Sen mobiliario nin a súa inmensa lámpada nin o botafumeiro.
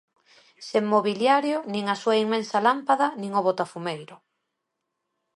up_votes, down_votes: 2, 0